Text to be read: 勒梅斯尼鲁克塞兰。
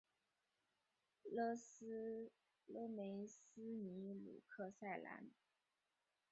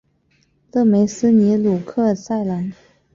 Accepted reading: second